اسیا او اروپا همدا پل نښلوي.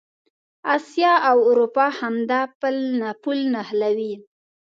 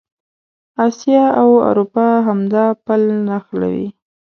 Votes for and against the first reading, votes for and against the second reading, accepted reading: 0, 2, 2, 0, second